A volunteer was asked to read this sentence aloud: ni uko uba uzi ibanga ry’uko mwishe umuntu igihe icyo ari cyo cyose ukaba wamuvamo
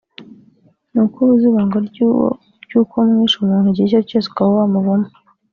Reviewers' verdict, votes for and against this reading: rejected, 1, 3